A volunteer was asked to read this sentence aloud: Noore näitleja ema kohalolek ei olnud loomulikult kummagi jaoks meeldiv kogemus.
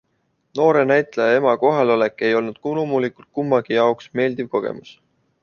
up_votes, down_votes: 1, 2